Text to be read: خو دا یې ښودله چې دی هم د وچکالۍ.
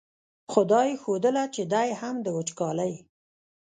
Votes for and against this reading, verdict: 0, 2, rejected